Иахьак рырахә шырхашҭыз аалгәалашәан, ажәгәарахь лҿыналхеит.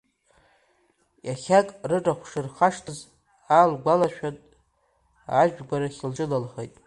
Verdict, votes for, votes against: accepted, 2, 0